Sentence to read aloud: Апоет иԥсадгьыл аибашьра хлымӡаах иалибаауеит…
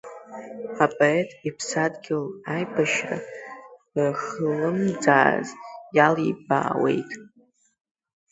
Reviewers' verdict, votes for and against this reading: rejected, 1, 2